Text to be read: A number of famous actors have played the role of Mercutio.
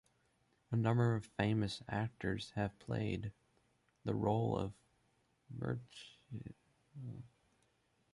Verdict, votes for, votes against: rejected, 0, 2